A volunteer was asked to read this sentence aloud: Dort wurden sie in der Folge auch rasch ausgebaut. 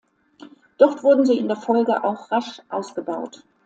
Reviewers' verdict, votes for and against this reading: accepted, 2, 1